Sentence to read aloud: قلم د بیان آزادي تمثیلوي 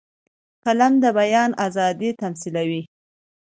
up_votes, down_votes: 2, 0